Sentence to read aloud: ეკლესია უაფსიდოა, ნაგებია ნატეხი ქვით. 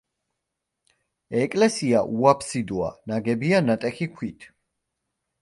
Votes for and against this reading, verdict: 2, 0, accepted